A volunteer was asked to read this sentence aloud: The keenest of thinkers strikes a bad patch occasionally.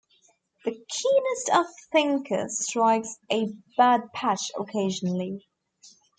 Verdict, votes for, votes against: accepted, 2, 0